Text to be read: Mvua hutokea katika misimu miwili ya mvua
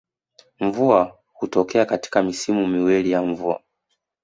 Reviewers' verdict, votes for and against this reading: accepted, 2, 0